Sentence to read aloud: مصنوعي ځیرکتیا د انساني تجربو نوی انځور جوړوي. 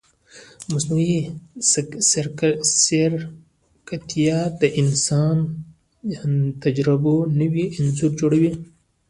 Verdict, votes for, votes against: rejected, 0, 2